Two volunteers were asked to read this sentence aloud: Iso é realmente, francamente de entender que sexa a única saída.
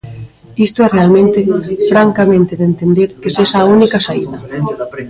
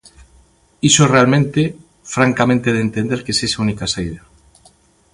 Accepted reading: second